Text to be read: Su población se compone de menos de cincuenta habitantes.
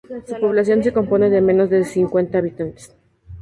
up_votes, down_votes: 0, 2